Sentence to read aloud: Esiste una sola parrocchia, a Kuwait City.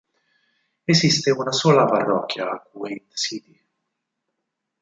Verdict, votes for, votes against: rejected, 2, 4